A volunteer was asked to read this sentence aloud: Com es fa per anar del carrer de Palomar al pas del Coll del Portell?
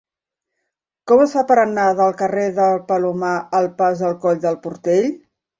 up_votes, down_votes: 1, 2